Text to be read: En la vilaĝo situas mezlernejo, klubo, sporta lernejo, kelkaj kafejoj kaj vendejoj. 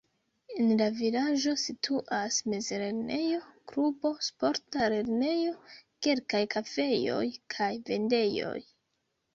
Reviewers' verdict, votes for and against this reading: accepted, 2, 0